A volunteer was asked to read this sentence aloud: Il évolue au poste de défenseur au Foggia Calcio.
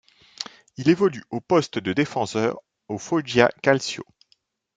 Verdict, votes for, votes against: rejected, 1, 2